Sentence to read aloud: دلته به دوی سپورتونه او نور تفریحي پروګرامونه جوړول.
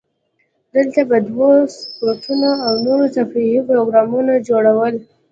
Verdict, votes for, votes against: accepted, 2, 0